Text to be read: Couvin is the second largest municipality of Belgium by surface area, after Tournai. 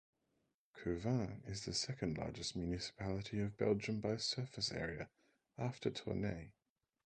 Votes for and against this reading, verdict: 0, 4, rejected